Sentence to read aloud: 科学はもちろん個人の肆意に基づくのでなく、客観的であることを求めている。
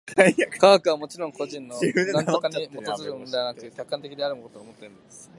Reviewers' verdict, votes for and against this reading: rejected, 0, 3